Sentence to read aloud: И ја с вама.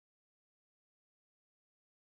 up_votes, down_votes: 1, 2